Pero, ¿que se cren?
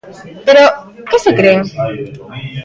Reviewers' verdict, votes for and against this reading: accepted, 2, 1